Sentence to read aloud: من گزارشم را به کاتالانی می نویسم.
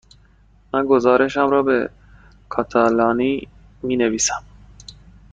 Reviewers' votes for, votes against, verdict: 2, 0, accepted